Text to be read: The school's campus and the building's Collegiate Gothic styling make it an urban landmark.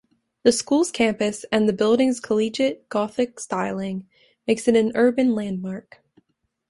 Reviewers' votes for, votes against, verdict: 0, 2, rejected